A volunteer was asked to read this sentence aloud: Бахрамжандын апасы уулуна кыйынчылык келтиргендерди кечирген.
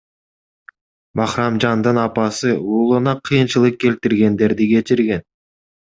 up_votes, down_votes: 2, 0